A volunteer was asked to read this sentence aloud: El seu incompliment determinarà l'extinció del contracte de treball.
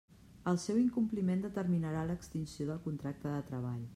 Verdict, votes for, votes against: accepted, 3, 0